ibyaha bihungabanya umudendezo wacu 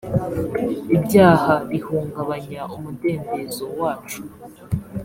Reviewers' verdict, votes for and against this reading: accepted, 2, 0